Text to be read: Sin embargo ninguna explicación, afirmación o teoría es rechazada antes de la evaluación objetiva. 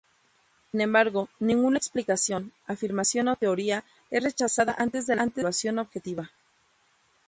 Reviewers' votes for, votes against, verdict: 0, 2, rejected